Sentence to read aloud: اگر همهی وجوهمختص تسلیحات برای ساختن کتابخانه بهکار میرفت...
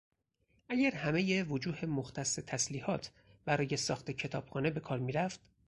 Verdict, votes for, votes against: rejected, 2, 2